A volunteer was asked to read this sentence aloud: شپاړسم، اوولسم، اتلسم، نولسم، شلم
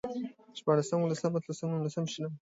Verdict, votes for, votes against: accepted, 2, 0